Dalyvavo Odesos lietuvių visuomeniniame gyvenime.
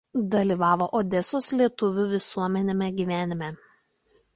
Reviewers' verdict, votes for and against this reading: rejected, 0, 2